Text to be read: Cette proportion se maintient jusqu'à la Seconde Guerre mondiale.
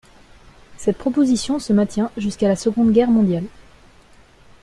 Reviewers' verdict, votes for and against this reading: rejected, 0, 2